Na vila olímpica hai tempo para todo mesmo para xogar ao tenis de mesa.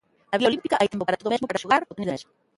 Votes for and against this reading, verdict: 0, 2, rejected